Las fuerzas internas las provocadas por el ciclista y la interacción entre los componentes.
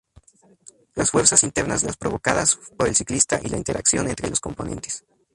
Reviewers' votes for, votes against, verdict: 2, 0, accepted